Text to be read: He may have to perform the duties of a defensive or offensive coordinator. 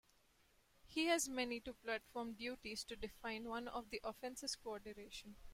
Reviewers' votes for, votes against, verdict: 0, 2, rejected